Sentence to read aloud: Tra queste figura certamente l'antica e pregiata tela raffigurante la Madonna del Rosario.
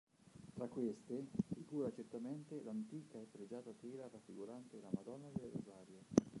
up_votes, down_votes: 0, 3